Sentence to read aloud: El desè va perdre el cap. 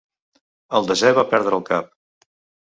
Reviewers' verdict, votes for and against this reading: accepted, 2, 0